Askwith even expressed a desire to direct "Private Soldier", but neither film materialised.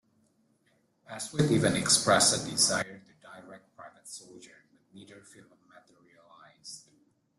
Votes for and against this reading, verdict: 1, 2, rejected